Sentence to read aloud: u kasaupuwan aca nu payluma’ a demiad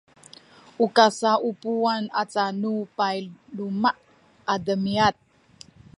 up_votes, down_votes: 2, 0